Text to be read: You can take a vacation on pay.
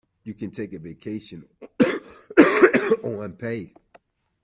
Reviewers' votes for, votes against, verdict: 0, 2, rejected